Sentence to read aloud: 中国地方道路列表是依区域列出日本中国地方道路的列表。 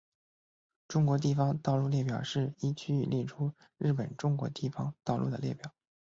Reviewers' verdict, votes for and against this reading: accepted, 2, 0